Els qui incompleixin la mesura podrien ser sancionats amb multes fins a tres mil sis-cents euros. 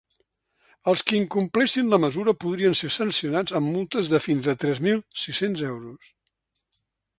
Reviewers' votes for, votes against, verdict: 2, 1, accepted